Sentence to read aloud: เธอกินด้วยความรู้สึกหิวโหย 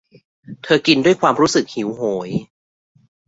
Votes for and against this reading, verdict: 1, 2, rejected